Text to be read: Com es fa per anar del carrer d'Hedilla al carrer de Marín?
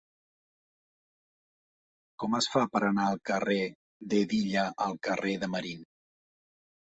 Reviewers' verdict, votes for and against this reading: rejected, 1, 2